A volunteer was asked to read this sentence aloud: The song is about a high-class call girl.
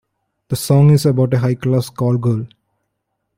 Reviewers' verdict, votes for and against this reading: accepted, 2, 0